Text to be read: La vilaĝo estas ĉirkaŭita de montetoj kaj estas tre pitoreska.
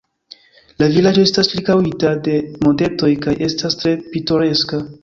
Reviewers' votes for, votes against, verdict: 3, 0, accepted